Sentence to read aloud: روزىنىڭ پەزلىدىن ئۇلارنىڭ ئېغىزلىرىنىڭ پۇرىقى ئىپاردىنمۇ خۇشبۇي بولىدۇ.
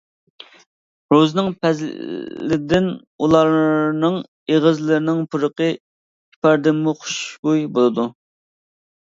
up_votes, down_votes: 0, 2